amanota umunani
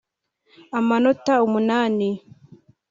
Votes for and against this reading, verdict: 3, 1, accepted